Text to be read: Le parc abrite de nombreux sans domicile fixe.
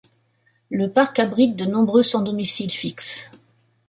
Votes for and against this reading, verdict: 2, 0, accepted